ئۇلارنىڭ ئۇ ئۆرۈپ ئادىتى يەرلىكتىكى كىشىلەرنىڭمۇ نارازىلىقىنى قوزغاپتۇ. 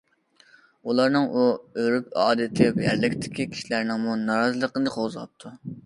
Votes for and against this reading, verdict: 2, 0, accepted